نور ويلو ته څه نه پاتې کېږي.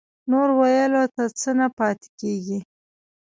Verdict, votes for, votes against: rejected, 1, 2